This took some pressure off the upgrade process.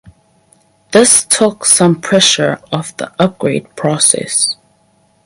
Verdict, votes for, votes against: accepted, 4, 0